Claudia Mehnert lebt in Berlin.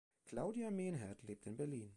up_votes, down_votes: 2, 1